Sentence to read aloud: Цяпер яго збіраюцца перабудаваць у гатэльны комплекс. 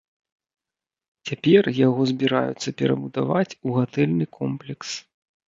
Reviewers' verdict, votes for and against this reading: accepted, 2, 0